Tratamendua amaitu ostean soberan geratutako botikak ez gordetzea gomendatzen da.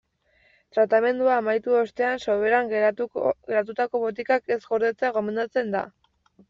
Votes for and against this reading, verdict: 0, 2, rejected